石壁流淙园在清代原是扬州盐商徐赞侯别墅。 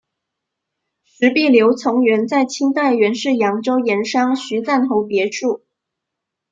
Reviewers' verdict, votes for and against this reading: rejected, 0, 2